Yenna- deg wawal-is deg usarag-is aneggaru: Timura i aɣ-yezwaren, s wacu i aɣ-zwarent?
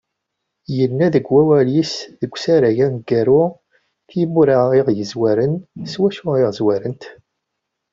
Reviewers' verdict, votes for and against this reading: accepted, 2, 0